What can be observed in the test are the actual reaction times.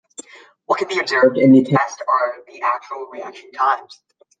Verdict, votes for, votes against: accepted, 2, 0